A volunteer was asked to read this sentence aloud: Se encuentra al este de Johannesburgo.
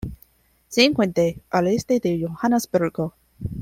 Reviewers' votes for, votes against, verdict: 0, 2, rejected